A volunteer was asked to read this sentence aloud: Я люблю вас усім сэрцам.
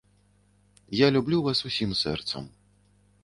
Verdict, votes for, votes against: accepted, 2, 0